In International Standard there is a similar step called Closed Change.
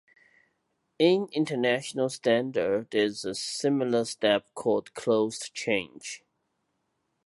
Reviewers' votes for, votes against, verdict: 2, 0, accepted